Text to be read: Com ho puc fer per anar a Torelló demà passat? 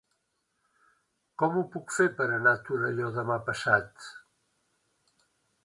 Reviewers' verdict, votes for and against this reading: accepted, 2, 0